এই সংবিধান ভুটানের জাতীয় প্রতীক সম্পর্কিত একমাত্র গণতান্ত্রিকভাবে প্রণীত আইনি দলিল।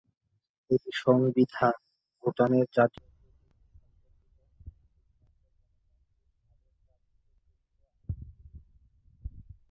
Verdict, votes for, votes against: rejected, 0, 2